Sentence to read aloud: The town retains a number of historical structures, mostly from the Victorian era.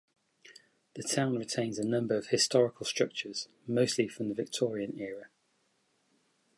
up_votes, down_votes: 2, 0